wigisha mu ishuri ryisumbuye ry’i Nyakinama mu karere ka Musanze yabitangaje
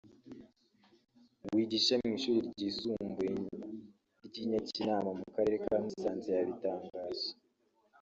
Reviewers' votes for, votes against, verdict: 1, 2, rejected